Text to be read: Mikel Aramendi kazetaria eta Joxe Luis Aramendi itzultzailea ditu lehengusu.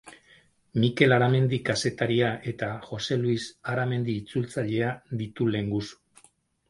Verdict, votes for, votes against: accepted, 4, 0